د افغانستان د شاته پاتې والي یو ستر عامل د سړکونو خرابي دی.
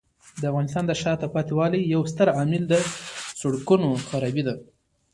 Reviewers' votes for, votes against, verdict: 1, 2, rejected